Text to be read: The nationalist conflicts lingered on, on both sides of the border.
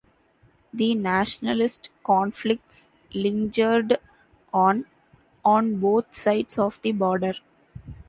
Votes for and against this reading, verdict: 2, 1, accepted